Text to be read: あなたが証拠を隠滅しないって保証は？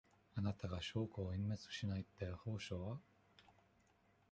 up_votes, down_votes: 1, 2